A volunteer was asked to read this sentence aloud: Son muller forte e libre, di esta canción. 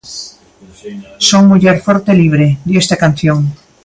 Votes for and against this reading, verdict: 1, 2, rejected